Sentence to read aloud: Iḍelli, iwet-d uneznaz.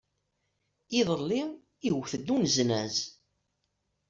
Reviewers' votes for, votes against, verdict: 2, 0, accepted